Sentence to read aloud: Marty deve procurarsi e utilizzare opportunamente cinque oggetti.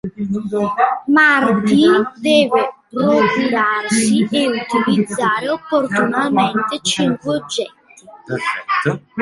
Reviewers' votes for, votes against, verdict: 1, 2, rejected